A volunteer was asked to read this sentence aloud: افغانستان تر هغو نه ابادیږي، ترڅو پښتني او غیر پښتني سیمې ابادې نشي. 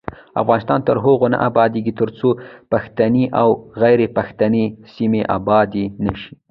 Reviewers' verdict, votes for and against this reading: rejected, 1, 2